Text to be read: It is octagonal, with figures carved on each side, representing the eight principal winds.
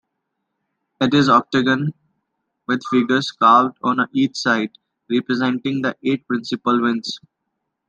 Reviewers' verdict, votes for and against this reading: rejected, 0, 2